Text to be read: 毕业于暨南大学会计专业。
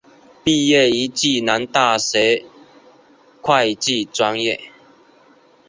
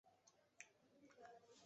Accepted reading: first